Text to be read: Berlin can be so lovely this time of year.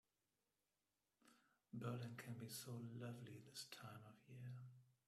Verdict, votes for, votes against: rejected, 1, 2